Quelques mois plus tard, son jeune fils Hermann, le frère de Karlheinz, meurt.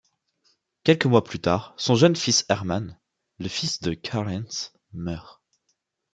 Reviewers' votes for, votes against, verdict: 1, 2, rejected